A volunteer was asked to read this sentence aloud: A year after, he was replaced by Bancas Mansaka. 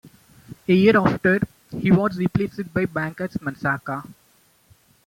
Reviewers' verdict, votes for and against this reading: rejected, 1, 2